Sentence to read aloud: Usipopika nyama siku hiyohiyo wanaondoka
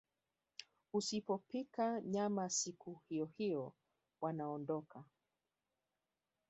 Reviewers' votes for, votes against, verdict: 1, 2, rejected